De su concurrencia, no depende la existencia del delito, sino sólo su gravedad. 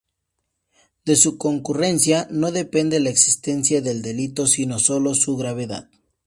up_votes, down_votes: 2, 0